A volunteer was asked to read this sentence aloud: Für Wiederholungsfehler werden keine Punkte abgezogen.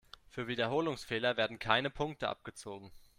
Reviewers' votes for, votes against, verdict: 2, 0, accepted